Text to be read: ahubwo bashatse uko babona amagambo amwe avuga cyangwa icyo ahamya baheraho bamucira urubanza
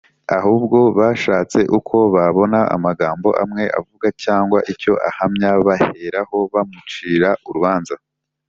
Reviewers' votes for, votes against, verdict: 4, 0, accepted